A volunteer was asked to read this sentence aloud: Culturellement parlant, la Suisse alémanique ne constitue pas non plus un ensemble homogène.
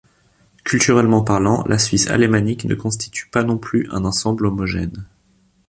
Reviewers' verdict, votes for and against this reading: accepted, 3, 0